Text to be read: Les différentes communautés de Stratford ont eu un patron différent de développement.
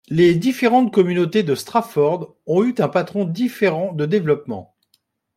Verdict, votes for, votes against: rejected, 1, 2